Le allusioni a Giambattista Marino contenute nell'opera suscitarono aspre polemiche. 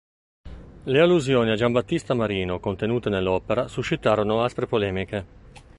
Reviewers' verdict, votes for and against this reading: accepted, 2, 0